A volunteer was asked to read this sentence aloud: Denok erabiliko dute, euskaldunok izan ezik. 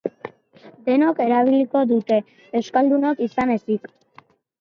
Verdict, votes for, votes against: accepted, 2, 1